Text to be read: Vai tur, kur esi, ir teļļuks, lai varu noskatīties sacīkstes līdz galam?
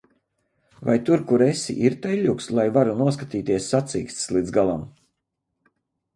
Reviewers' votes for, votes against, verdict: 4, 0, accepted